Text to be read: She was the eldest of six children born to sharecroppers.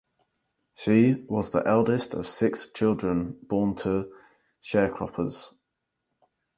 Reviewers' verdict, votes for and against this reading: accepted, 2, 0